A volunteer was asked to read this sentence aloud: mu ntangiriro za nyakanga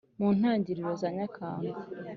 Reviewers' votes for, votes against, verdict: 2, 0, accepted